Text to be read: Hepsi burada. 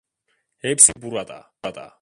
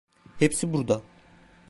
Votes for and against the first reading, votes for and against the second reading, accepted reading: 0, 2, 2, 0, second